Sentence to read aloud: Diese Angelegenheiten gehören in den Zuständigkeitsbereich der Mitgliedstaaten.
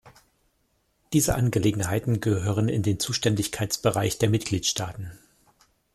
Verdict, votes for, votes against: accepted, 2, 0